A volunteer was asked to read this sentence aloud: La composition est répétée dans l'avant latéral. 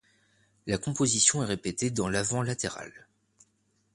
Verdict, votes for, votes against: accepted, 2, 0